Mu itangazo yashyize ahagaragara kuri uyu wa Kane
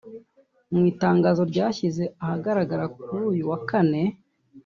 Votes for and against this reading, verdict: 0, 2, rejected